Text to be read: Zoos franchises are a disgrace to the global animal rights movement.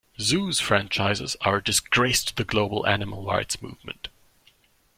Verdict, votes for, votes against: rejected, 1, 2